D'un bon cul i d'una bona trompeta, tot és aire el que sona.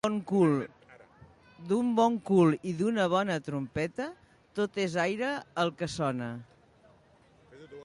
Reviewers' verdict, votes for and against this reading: rejected, 1, 2